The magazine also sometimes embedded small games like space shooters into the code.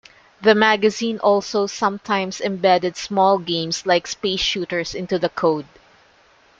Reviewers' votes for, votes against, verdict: 2, 0, accepted